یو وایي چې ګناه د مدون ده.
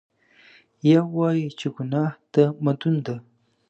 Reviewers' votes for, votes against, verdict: 2, 0, accepted